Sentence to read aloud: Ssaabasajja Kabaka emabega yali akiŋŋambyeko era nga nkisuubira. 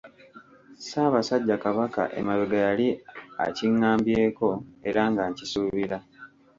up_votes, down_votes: 1, 2